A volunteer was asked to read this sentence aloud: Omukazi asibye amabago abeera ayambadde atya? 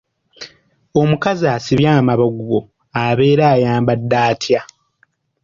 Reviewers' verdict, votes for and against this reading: rejected, 0, 2